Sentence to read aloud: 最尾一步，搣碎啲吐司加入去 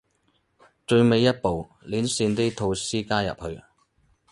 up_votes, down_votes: 2, 2